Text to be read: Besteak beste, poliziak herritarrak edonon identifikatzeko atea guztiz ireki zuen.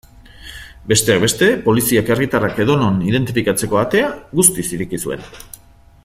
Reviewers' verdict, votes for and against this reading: accepted, 2, 0